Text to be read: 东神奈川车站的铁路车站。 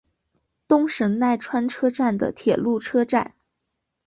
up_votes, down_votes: 2, 0